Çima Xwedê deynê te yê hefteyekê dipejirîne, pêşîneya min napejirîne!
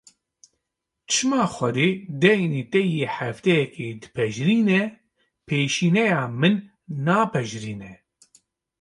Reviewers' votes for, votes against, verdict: 2, 0, accepted